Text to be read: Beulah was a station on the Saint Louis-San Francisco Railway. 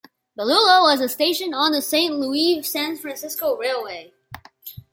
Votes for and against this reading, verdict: 0, 2, rejected